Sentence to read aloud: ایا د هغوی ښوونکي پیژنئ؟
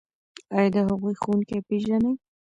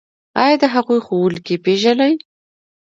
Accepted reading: second